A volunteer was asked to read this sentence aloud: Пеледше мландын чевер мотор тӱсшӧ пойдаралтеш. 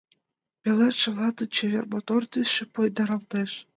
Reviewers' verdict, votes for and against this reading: accepted, 2, 0